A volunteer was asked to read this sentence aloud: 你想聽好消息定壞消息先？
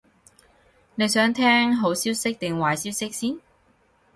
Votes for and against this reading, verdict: 4, 0, accepted